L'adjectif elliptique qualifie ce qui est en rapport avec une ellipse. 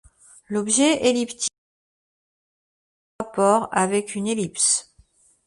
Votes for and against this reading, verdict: 0, 2, rejected